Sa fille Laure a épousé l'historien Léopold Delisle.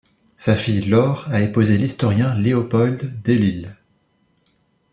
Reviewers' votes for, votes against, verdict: 1, 2, rejected